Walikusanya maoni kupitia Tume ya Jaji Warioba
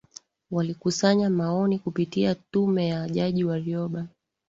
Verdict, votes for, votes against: accepted, 7, 0